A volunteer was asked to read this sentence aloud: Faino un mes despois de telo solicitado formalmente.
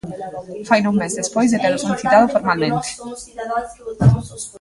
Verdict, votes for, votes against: rejected, 0, 2